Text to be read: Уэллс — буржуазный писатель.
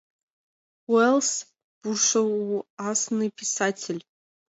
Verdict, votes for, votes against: accepted, 2, 1